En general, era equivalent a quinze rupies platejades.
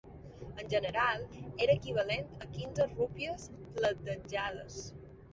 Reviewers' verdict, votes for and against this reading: rejected, 1, 2